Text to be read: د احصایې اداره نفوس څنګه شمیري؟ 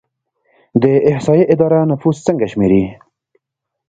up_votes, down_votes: 1, 2